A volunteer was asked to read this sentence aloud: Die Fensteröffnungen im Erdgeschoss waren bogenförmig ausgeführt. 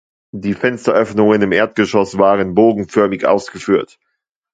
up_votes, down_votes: 2, 0